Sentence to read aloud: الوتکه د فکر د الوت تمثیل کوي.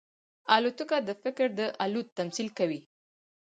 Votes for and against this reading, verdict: 2, 4, rejected